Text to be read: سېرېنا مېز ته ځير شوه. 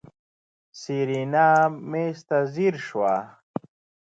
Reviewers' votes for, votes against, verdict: 2, 0, accepted